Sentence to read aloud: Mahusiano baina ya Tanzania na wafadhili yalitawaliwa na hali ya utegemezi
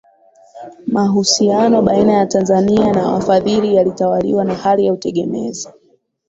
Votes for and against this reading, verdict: 4, 0, accepted